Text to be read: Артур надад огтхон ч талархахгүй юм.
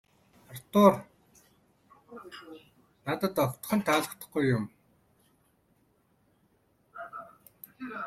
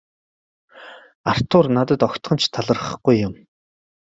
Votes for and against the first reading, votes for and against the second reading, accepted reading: 0, 2, 2, 1, second